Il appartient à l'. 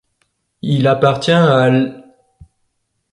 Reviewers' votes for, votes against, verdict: 2, 0, accepted